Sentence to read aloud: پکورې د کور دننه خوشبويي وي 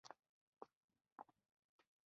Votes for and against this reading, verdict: 0, 2, rejected